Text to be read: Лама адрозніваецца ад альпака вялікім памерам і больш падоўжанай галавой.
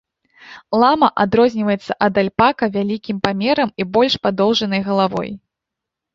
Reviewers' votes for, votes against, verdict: 2, 0, accepted